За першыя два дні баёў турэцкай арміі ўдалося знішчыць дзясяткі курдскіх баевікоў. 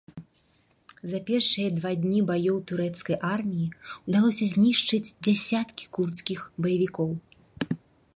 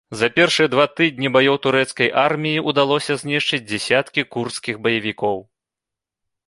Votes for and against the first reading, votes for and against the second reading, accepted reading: 2, 0, 2, 3, first